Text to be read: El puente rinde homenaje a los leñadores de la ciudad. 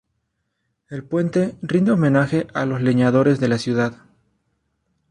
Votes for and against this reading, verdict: 2, 0, accepted